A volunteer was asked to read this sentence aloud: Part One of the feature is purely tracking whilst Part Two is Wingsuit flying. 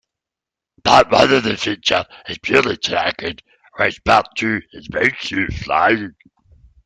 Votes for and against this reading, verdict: 1, 2, rejected